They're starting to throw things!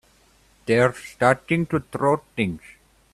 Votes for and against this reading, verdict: 2, 0, accepted